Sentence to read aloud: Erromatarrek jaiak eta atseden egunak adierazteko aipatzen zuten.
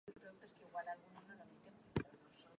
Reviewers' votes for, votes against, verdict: 0, 2, rejected